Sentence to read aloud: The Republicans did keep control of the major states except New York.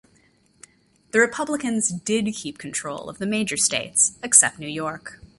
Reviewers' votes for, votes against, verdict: 2, 0, accepted